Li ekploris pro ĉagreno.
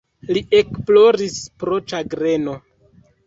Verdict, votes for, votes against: rejected, 1, 2